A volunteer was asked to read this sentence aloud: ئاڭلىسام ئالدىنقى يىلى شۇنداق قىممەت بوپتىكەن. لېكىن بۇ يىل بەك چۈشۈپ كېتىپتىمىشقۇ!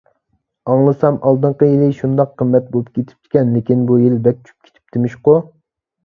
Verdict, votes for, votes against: rejected, 0, 2